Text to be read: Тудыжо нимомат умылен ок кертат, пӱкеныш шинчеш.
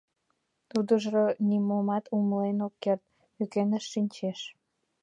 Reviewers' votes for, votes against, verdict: 0, 2, rejected